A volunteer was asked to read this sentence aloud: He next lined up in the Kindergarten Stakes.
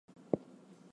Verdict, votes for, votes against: rejected, 0, 4